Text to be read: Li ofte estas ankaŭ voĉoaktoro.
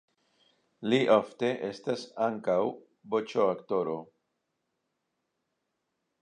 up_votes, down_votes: 2, 0